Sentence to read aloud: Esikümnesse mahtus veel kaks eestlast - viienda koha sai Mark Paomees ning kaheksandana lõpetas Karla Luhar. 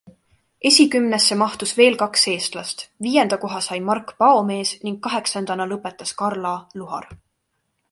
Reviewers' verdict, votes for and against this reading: accepted, 2, 0